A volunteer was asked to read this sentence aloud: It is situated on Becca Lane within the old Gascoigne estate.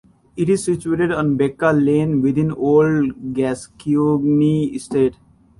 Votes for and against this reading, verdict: 1, 2, rejected